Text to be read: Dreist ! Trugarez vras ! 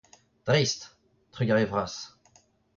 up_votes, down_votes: 1, 2